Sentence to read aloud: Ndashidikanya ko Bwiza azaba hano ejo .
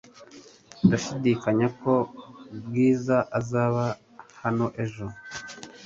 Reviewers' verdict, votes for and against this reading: accepted, 3, 0